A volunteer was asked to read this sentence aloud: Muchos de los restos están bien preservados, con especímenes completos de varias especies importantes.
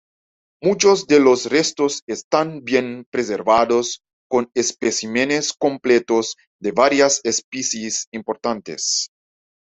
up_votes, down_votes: 2, 1